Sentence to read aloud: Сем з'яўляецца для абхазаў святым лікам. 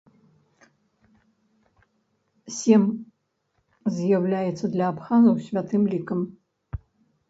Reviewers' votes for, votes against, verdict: 1, 2, rejected